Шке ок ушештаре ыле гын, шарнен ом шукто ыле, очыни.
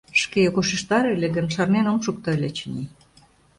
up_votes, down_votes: 0, 2